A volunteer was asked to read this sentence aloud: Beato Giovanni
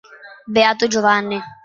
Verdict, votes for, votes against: accepted, 3, 0